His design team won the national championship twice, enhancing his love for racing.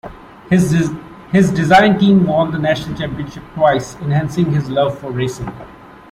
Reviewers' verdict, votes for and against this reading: rejected, 1, 2